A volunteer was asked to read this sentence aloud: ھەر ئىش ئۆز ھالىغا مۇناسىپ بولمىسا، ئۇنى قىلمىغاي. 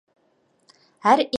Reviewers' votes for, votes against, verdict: 0, 2, rejected